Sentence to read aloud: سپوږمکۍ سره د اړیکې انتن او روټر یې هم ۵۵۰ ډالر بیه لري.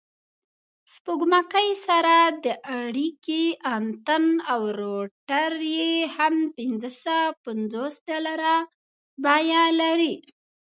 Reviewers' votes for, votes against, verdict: 0, 2, rejected